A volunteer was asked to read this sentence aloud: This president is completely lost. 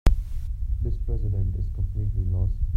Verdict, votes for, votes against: rejected, 0, 2